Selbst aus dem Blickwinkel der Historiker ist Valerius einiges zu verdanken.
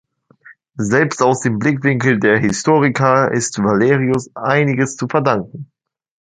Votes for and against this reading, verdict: 1, 2, rejected